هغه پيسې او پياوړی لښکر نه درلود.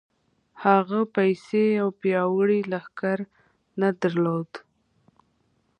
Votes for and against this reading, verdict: 2, 0, accepted